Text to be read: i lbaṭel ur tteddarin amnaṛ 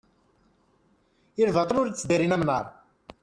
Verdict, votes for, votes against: rejected, 0, 2